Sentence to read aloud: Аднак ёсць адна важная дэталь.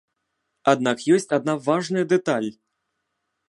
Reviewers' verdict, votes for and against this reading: accepted, 2, 0